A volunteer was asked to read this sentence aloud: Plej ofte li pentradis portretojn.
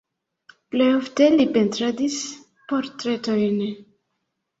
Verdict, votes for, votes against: accepted, 2, 0